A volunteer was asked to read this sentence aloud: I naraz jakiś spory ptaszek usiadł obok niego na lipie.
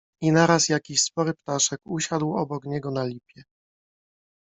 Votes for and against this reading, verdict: 2, 0, accepted